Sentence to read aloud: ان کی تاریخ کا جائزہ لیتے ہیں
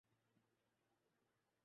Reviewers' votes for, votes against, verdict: 0, 2, rejected